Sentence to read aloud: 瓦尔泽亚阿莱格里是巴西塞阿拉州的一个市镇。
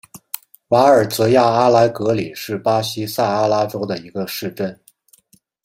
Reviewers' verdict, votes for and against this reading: accepted, 2, 0